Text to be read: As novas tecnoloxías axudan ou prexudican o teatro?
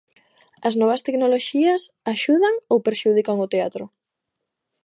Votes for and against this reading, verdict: 1, 2, rejected